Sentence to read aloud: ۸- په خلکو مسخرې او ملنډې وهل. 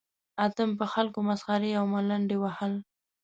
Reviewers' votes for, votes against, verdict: 0, 2, rejected